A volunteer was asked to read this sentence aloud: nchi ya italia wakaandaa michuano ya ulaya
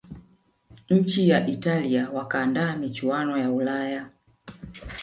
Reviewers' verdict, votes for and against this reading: rejected, 1, 2